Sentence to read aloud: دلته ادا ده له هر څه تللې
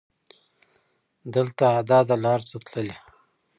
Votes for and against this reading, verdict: 1, 2, rejected